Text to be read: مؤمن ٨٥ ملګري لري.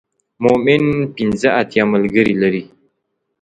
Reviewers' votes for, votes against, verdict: 0, 2, rejected